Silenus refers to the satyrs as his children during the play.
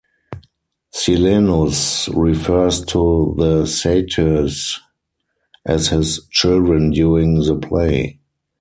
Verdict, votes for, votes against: rejected, 2, 4